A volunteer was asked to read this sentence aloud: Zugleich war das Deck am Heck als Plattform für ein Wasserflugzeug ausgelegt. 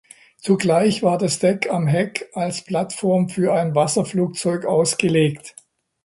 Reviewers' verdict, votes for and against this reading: accepted, 3, 0